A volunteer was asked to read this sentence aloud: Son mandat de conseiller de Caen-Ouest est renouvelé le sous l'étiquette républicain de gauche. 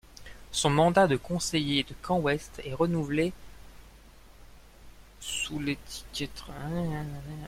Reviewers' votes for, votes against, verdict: 0, 2, rejected